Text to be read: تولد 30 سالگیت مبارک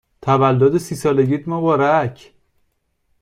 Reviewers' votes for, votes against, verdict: 0, 2, rejected